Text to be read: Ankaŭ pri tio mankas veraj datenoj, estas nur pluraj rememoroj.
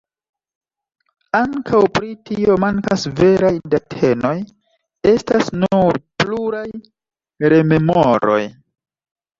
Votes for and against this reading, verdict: 2, 0, accepted